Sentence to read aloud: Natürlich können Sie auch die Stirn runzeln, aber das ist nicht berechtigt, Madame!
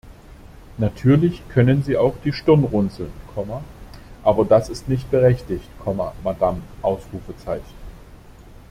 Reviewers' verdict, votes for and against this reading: rejected, 0, 2